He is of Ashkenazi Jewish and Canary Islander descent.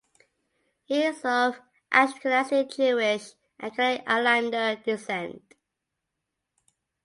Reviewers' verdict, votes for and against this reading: accepted, 2, 0